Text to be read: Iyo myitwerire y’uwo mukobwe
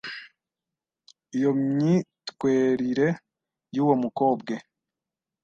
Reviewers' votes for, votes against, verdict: 1, 2, rejected